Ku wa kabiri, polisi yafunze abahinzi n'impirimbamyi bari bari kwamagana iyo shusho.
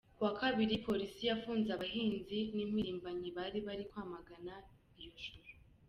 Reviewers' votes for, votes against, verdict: 2, 0, accepted